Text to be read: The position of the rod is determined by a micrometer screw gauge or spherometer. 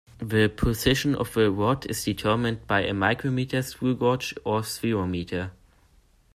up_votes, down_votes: 1, 2